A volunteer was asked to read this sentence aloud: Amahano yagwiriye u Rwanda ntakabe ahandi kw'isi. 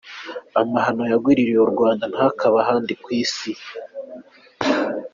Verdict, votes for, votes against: accepted, 2, 1